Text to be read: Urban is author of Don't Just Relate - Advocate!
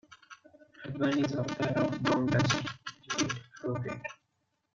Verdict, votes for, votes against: rejected, 0, 2